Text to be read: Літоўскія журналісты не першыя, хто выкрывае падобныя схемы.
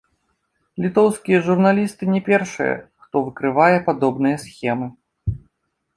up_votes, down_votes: 2, 0